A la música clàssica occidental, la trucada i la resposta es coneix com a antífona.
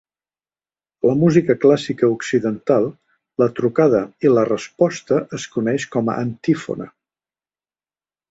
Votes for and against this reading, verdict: 0, 2, rejected